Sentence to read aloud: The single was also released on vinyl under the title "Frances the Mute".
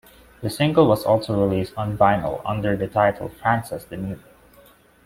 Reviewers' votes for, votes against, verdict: 2, 0, accepted